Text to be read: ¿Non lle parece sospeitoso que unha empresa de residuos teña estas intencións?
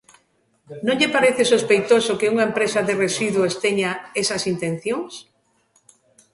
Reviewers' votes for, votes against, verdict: 0, 2, rejected